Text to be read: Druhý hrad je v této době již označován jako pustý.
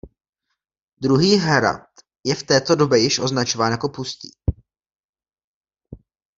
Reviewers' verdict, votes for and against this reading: accepted, 2, 0